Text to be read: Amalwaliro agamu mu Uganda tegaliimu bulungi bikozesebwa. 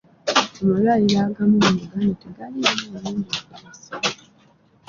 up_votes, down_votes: 0, 2